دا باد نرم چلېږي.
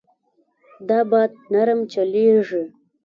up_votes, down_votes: 2, 0